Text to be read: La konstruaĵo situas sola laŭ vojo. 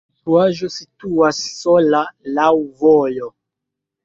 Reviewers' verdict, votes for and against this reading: rejected, 1, 2